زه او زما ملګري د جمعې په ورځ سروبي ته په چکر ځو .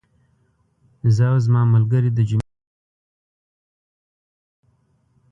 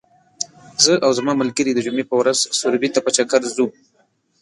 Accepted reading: second